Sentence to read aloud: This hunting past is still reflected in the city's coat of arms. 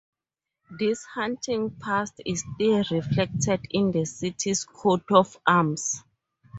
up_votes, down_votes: 2, 0